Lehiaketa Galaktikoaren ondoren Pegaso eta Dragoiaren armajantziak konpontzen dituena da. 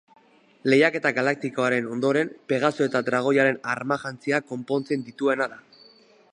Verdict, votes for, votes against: accepted, 2, 0